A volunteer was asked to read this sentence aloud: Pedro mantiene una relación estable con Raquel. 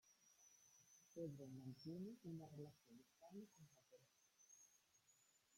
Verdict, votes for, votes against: rejected, 1, 2